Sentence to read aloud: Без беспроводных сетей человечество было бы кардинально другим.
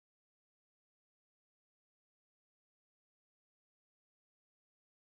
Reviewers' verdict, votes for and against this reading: rejected, 0, 14